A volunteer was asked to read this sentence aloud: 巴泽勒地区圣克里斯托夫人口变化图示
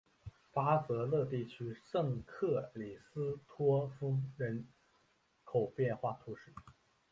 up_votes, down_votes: 2, 0